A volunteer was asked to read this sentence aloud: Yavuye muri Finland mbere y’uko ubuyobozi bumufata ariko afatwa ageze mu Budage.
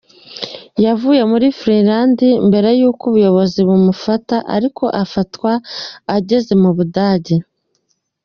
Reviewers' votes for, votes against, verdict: 2, 0, accepted